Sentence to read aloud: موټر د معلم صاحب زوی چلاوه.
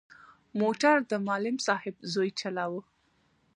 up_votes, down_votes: 2, 1